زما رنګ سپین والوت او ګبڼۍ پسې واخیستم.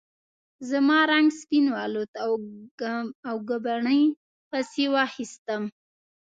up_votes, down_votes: 0, 2